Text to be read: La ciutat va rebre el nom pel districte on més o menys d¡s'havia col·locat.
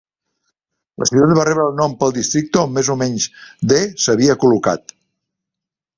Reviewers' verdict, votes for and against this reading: rejected, 1, 2